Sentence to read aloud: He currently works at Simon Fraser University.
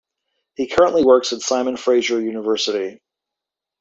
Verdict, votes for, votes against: accepted, 2, 0